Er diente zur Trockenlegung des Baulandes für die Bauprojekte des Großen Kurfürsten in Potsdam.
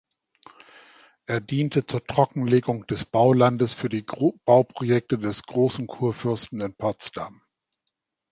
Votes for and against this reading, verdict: 1, 2, rejected